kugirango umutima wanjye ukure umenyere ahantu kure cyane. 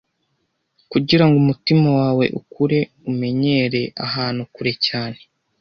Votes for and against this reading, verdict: 0, 2, rejected